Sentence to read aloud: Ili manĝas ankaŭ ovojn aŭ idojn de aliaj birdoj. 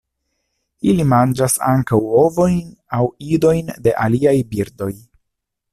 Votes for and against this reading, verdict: 2, 0, accepted